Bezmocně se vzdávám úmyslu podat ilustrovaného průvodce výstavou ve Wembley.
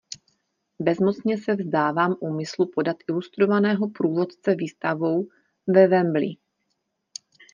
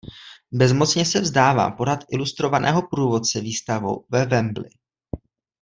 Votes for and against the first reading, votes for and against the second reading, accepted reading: 2, 0, 0, 2, first